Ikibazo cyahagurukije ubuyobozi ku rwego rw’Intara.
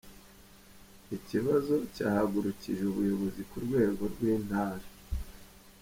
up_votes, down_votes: 2, 0